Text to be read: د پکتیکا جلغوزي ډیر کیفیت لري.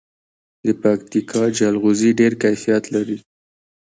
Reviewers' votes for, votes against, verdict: 2, 0, accepted